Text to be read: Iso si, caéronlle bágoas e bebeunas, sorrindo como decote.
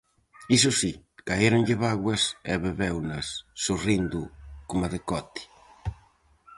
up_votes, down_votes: 0, 4